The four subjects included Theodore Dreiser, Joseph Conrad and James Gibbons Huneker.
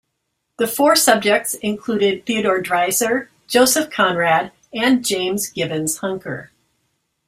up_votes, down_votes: 2, 1